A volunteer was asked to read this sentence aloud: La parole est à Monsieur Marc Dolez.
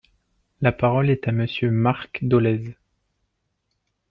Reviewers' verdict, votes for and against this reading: accepted, 2, 1